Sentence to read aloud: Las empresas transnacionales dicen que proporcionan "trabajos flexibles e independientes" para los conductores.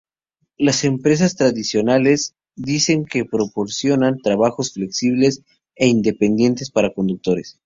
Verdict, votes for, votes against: rejected, 0, 2